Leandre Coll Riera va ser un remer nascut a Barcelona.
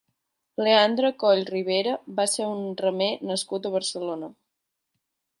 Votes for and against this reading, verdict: 0, 3, rejected